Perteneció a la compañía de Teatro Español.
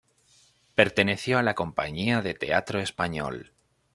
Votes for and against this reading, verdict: 2, 0, accepted